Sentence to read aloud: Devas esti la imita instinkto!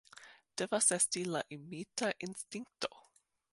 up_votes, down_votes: 1, 2